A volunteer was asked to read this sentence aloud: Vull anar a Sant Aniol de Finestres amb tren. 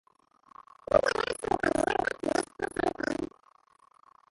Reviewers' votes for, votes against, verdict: 0, 2, rejected